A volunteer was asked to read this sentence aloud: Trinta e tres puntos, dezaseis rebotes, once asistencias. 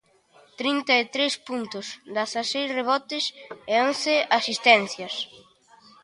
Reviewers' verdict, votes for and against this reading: rejected, 0, 2